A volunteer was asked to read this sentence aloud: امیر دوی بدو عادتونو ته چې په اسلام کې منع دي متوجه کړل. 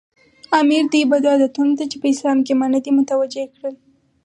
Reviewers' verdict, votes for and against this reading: accepted, 4, 0